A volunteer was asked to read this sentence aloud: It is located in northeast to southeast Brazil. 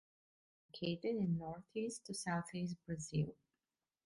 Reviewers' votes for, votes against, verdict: 0, 2, rejected